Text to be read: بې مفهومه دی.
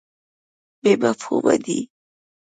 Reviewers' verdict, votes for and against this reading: accepted, 2, 0